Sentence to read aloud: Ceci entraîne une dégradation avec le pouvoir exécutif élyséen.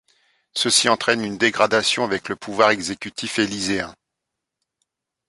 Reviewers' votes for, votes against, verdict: 2, 0, accepted